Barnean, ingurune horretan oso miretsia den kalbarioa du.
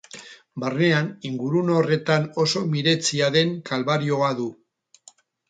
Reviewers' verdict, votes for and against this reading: rejected, 2, 2